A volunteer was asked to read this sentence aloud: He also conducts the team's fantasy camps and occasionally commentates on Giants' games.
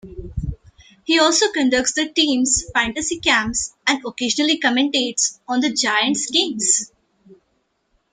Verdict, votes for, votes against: accepted, 2, 0